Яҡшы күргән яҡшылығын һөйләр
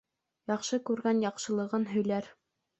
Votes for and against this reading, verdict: 2, 0, accepted